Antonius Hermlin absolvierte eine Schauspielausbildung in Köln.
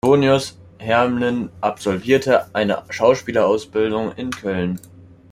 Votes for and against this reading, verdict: 1, 2, rejected